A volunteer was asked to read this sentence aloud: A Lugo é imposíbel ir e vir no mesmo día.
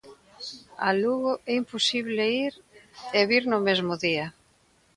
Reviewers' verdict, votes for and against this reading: rejected, 0, 2